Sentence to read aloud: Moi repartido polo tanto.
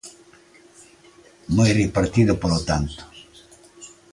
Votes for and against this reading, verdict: 2, 0, accepted